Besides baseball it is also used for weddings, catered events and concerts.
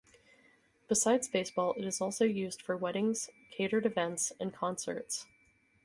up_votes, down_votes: 4, 2